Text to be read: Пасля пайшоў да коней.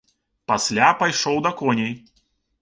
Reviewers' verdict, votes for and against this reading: accepted, 2, 0